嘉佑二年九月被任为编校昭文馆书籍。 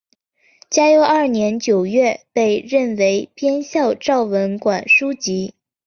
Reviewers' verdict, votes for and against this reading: accepted, 3, 0